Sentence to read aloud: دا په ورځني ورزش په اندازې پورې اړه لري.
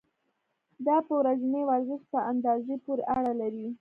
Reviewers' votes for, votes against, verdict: 2, 0, accepted